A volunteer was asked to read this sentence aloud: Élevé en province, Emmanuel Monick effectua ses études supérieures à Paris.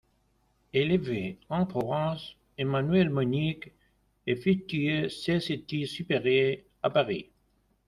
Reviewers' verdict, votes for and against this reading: accepted, 2, 1